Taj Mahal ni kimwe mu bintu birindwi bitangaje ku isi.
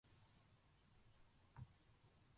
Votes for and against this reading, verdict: 0, 2, rejected